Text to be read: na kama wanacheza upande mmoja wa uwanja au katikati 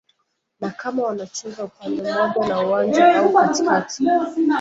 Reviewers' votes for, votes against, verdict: 0, 2, rejected